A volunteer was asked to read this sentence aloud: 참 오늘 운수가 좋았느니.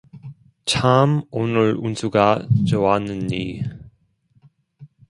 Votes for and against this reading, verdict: 1, 2, rejected